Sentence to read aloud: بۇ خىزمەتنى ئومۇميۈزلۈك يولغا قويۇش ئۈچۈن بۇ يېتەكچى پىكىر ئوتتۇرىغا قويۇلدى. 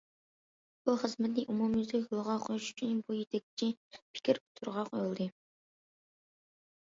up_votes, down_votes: 2, 1